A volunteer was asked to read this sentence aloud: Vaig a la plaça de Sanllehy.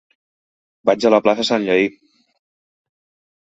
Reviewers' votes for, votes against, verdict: 0, 2, rejected